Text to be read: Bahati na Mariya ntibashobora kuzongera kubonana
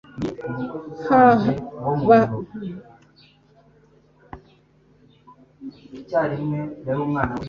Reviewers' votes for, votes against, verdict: 0, 2, rejected